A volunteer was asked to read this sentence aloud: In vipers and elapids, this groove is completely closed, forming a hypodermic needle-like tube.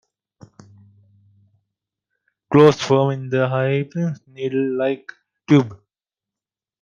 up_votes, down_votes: 0, 2